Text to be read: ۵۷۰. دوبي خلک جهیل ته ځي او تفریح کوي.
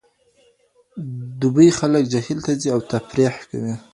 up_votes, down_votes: 0, 2